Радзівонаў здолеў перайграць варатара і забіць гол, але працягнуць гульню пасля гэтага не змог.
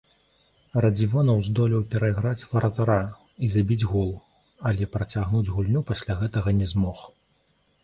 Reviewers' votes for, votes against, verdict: 2, 1, accepted